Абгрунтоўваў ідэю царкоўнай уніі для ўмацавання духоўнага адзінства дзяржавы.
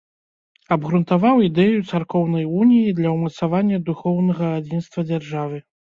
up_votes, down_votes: 1, 2